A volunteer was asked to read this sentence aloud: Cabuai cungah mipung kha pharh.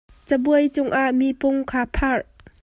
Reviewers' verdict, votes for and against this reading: accepted, 2, 0